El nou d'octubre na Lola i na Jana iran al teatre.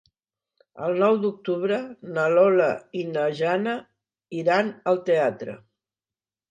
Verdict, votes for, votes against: accepted, 5, 0